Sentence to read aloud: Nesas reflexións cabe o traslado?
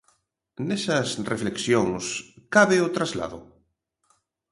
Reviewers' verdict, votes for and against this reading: accepted, 2, 0